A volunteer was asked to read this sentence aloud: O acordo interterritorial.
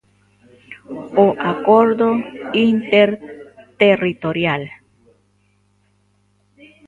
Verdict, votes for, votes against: accepted, 2, 1